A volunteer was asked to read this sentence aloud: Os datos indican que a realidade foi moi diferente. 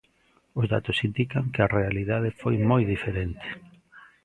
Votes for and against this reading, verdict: 1, 2, rejected